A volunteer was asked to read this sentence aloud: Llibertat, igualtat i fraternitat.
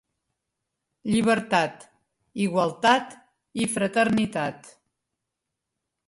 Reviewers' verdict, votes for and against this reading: accepted, 3, 0